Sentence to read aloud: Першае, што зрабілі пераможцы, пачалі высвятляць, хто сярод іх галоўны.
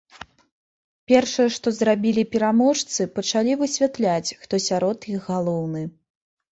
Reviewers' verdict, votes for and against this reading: accepted, 2, 0